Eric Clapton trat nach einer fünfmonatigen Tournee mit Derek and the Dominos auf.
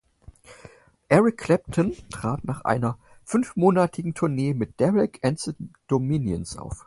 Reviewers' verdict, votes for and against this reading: rejected, 0, 4